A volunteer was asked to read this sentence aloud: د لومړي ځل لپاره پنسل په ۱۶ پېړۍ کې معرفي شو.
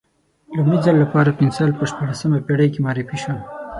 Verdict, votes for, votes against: rejected, 0, 2